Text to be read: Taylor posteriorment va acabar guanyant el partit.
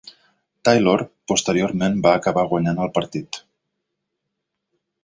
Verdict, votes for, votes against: rejected, 0, 2